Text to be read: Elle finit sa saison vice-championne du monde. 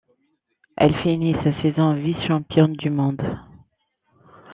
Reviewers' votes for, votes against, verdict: 2, 0, accepted